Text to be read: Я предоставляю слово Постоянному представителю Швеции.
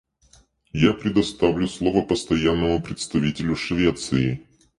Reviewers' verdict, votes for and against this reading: rejected, 2, 2